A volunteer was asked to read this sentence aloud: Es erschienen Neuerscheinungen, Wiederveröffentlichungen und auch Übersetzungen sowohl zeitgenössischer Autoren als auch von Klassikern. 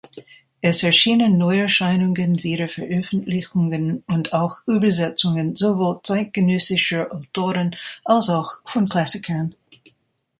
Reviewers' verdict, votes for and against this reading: accepted, 2, 0